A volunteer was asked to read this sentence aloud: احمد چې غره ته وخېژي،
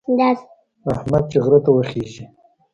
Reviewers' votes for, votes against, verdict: 0, 2, rejected